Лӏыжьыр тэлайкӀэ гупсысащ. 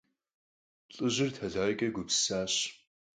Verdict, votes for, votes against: accepted, 4, 0